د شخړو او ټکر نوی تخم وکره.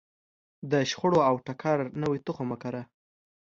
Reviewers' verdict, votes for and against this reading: accepted, 2, 0